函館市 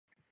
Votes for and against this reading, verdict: 0, 2, rejected